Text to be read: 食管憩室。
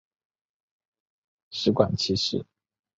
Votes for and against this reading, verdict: 3, 0, accepted